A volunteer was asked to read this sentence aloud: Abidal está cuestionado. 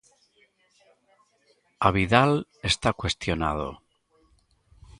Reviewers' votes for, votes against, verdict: 1, 2, rejected